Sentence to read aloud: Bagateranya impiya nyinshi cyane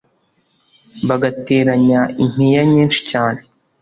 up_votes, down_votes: 2, 0